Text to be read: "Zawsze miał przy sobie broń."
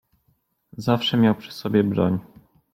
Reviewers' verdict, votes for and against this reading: accepted, 2, 0